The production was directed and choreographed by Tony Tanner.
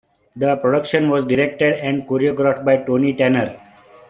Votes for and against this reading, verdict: 2, 0, accepted